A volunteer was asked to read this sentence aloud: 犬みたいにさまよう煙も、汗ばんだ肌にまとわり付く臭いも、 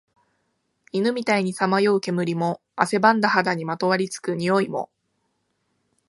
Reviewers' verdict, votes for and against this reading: accepted, 2, 0